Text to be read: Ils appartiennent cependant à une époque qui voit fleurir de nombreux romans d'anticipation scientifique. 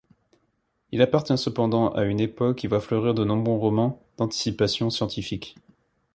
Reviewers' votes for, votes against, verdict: 1, 2, rejected